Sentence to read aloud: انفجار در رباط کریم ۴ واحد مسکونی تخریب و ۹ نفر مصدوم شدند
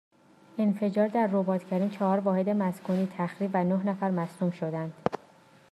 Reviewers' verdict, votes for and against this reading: rejected, 0, 2